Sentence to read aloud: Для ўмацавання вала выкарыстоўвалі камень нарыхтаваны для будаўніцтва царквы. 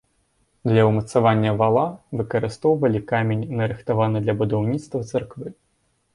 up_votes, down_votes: 2, 1